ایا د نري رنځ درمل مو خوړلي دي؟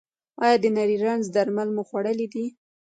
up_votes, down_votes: 0, 3